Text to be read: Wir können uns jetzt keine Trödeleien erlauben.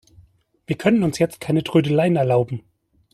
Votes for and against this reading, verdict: 2, 1, accepted